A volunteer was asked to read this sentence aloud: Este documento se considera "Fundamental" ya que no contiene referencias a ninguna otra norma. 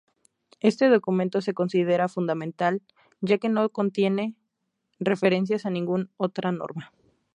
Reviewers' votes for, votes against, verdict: 0, 2, rejected